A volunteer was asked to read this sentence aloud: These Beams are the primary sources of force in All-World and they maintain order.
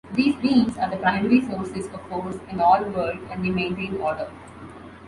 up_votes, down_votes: 2, 0